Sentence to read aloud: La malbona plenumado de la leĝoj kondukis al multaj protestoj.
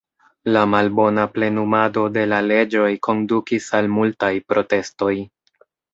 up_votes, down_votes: 2, 0